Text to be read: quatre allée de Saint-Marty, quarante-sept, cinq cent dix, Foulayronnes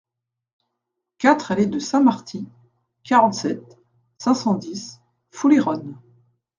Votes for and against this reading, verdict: 2, 1, accepted